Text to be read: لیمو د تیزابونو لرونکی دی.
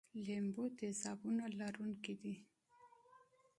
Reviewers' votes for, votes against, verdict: 2, 0, accepted